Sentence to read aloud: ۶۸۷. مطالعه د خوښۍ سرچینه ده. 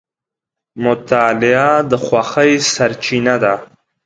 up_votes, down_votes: 0, 2